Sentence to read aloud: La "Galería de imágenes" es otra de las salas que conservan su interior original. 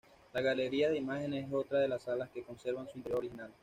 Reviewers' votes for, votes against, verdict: 1, 2, rejected